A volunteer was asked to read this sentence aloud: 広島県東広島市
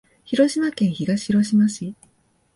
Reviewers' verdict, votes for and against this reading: rejected, 1, 2